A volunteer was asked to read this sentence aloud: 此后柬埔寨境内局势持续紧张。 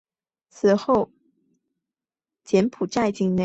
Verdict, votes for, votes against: rejected, 0, 2